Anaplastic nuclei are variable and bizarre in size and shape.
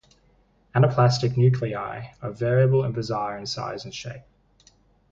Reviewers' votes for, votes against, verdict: 4, 0, accepted